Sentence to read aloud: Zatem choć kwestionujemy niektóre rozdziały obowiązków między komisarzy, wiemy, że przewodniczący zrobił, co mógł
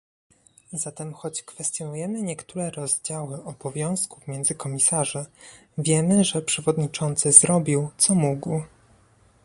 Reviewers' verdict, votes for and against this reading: accepted, 2, 0